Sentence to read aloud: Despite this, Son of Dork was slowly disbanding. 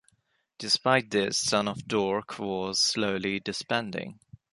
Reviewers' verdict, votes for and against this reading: accepted, 2, 0